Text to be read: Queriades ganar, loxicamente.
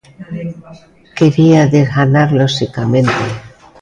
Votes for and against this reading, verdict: 0, 2, rejected